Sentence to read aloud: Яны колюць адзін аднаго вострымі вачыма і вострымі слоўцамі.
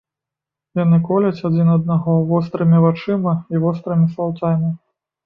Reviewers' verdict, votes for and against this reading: rejected, 1, 2